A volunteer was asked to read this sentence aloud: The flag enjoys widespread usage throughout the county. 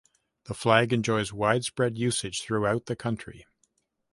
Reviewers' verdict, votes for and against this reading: rejected, 2, 3